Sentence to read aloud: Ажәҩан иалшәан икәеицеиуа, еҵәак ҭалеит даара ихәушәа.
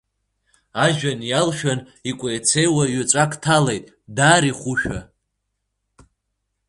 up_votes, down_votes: 3, 0